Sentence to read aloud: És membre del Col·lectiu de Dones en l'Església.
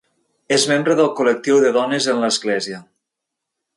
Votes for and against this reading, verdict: 2, 0, accepted